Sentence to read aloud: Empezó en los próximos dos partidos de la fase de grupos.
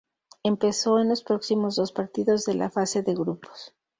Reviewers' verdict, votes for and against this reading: accepted, 2, 0